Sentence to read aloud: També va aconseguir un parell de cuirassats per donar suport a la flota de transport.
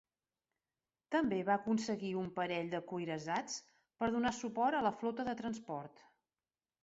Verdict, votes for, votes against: accepted, 2, 0